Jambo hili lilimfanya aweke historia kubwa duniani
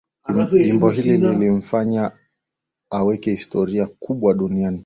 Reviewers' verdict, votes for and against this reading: accepted, 5, 0